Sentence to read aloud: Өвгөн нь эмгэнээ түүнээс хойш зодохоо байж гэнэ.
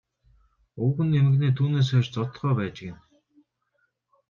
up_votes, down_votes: 0, 2